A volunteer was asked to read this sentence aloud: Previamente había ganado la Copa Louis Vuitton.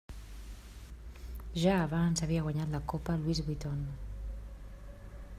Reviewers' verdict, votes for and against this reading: rejected, 0, 2